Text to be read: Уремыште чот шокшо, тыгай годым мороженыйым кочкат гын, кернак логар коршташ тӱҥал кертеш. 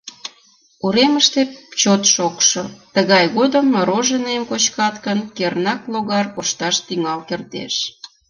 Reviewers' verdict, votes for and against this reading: accepted, 2, 0